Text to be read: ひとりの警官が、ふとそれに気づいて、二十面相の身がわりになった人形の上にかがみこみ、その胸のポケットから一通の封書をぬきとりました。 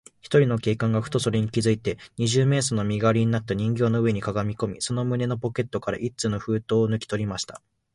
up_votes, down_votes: 0, 2